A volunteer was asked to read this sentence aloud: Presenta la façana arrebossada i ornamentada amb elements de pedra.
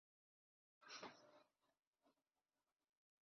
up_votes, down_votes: 1, 2